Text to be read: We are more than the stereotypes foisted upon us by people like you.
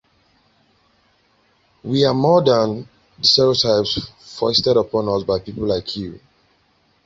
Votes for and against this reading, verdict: 1, 2, rejected